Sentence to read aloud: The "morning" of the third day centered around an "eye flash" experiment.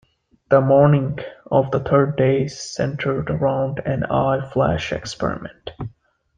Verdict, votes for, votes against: accepted, 2, 0